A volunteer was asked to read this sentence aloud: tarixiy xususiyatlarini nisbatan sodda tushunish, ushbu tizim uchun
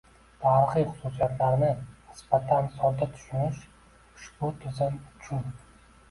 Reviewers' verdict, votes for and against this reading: rejected, 0, 2